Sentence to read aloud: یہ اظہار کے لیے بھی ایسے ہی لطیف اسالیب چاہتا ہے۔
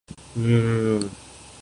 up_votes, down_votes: 0, 2